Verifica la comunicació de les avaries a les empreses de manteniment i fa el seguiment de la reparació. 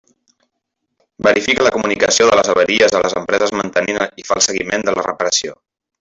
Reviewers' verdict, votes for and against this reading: rejected, 1, 2